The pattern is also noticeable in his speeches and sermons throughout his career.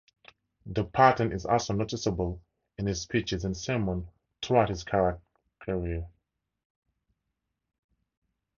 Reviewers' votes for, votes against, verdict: 2, 2, rejected